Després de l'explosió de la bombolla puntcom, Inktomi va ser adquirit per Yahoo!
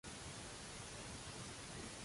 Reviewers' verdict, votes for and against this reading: rejected, 0, 2